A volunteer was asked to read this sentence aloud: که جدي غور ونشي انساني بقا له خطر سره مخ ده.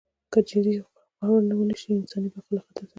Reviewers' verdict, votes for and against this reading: accepted, 2, 0